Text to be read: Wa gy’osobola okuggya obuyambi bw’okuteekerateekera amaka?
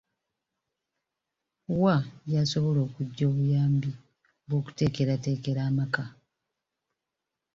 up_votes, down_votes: 2, 0